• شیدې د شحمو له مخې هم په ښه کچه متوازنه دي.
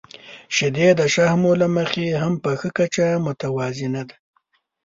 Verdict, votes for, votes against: rejected, 1, 2